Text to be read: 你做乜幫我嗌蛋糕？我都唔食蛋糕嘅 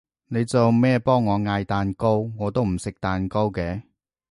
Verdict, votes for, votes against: rejected, 0, 2